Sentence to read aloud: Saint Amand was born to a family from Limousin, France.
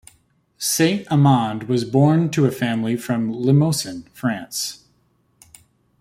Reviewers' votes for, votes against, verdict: 2, 0, accepted